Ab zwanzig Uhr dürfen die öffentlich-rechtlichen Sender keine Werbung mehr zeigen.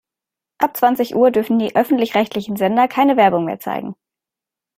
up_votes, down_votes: 2, 0